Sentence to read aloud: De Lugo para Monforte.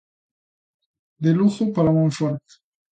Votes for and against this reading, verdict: 2, 0, accepted